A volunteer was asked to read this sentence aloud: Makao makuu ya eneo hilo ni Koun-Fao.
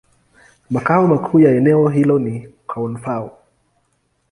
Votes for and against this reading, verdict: 2, 0, accepted